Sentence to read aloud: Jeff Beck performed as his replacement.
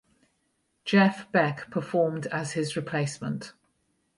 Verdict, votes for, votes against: rejected, 0, 4